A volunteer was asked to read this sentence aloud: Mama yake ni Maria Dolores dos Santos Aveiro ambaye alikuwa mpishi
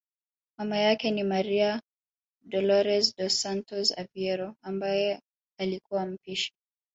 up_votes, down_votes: 2, 1